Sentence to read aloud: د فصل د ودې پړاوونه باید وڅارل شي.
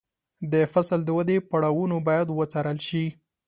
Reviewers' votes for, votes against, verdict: 2, 0, accepted